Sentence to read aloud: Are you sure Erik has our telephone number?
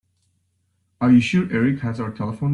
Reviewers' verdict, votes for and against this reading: rejected, 0, 2